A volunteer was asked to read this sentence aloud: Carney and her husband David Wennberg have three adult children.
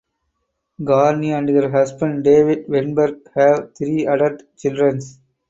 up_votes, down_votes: 2, 4